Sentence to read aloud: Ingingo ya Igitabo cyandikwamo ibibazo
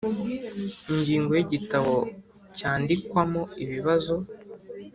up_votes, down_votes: 4, 0